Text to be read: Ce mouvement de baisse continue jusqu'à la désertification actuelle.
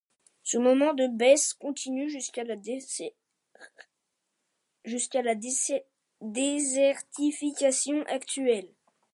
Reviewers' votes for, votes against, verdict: 0, 2, rejected